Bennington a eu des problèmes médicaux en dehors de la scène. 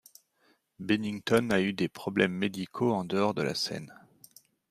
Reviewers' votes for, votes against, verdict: 2, 0, accepted